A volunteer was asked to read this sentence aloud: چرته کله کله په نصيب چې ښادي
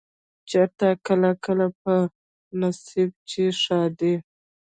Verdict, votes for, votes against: rejected, 0, 2